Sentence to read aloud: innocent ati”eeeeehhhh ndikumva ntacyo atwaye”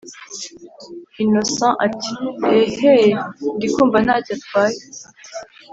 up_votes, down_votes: 2, 0